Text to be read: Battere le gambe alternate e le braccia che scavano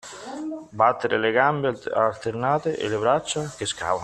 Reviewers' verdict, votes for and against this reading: rejected, 0, 2